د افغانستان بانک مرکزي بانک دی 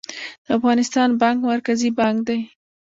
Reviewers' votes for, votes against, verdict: 1, 2, rejected